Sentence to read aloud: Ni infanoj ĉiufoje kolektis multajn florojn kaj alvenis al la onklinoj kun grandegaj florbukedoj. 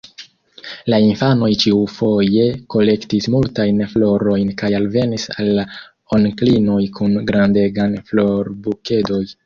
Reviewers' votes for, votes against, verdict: 2, 3, rejected